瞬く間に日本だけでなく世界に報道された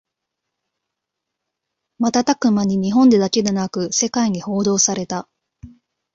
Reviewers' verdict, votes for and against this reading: rejected, 0, 2